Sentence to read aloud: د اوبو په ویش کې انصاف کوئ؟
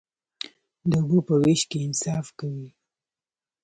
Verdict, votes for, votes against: accepted, 2, 0